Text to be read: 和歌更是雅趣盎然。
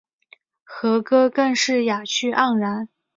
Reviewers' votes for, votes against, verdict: 2, 0, accepted